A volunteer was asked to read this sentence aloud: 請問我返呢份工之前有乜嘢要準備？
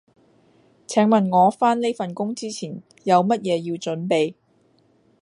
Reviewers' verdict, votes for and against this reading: accepted, 2, 0